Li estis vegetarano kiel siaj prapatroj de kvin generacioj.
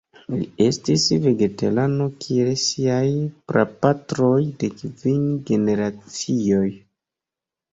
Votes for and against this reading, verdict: 2, 0, accepted